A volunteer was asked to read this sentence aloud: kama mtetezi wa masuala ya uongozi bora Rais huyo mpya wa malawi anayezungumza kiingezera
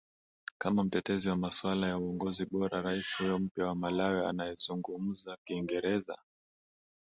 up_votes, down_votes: 2, 0